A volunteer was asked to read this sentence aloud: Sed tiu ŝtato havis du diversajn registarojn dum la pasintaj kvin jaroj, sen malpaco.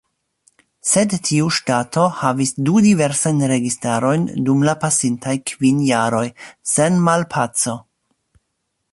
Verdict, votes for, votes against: accepted, 2, 1